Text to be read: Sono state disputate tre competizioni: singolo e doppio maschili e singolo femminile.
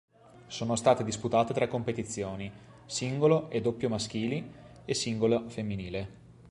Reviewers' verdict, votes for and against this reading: accepted, 2, 0